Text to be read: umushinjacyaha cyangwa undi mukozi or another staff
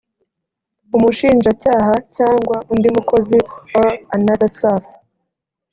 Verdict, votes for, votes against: accepted, 3, 0